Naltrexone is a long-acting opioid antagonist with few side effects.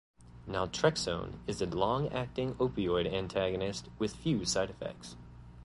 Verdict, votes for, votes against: accepted, 2, 0